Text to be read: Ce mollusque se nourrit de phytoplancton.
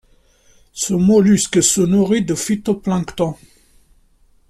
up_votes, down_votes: 2, 0